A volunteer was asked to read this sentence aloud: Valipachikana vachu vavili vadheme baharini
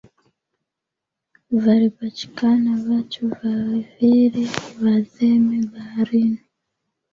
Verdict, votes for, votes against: accepted, 2, 0